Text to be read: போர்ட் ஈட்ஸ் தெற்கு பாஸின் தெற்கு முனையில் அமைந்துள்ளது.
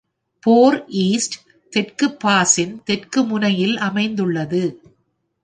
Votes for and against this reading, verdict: 2, 3, rejected